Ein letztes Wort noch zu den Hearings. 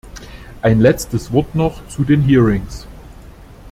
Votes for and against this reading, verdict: 2, 0, accepted